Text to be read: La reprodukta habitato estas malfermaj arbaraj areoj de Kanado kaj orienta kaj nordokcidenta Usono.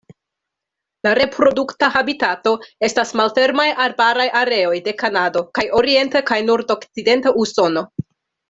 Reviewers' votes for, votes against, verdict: 2, 0, accepted